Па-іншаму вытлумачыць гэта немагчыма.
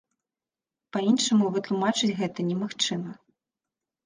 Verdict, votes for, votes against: accepted, 2, 1